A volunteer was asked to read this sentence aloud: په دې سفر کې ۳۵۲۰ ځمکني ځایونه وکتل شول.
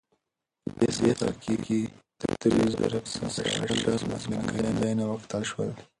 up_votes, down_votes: 0, 2